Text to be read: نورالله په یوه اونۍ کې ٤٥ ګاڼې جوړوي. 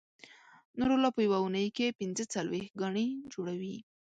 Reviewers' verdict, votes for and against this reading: rejected, 0, 2